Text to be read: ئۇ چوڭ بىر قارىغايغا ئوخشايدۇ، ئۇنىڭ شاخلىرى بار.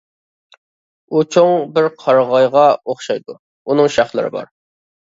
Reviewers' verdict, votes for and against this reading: accepted, 2, 0